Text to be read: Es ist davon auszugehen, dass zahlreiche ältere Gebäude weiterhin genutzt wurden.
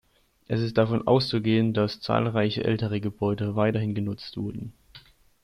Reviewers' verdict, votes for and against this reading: accepted, 2, 0